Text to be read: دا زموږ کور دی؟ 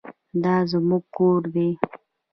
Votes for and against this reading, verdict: 0, 2, rejected